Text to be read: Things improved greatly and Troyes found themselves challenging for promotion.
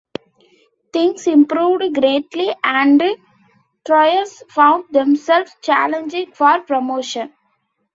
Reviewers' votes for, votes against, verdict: 2, 0, accepted